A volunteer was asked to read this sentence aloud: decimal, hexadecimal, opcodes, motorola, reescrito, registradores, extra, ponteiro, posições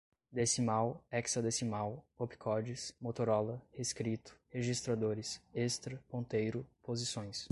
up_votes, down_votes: 2, 0